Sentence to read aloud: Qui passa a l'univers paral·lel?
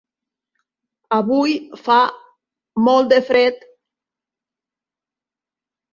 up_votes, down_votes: 0, 2